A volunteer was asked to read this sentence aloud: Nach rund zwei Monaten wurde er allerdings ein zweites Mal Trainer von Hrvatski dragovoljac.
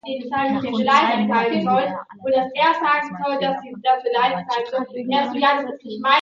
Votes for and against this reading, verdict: 0, 2, rejected